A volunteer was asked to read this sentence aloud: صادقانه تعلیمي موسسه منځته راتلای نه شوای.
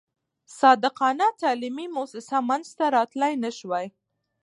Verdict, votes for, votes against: accepted, 2, 0